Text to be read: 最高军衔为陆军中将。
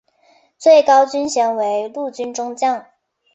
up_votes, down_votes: 6, 1